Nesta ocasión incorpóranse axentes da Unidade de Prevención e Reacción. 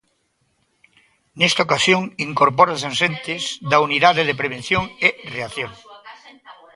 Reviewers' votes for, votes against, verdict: 0, 2, rejected